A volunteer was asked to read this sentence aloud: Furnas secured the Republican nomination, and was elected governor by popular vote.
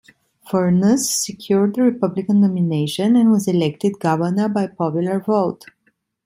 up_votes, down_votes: 2, 0